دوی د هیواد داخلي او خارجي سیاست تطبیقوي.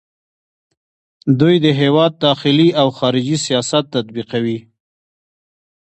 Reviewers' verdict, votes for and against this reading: accepted, 2, 1